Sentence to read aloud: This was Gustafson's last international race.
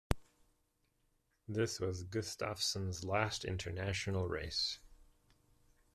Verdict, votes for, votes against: accepted, 2, 0